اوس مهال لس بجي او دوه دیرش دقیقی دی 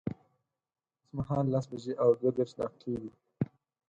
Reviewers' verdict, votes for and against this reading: accepted, 4, 2